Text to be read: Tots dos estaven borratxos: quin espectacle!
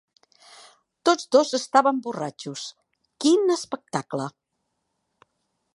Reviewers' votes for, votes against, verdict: 3, 0, accepted